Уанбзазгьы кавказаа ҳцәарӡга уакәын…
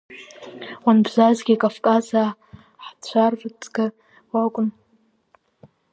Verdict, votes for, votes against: rejected, 0, 2